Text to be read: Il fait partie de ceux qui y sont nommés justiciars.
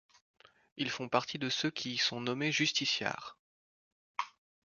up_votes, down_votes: 0, 2